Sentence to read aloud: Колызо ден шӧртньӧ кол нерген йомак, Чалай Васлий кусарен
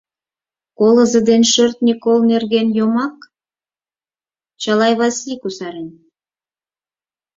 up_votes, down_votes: 4, 0